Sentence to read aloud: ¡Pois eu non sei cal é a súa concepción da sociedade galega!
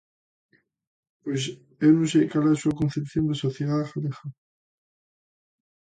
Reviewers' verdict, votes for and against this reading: rejected, 0, 2